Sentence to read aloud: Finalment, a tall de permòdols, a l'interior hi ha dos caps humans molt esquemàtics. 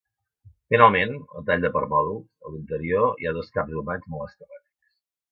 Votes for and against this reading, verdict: 1, 2, rejected